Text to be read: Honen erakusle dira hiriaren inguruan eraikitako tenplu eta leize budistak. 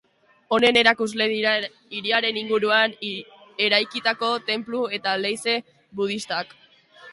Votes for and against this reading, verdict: 1, 2, rejected